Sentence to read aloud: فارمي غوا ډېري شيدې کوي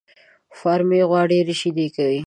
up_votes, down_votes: 2, 1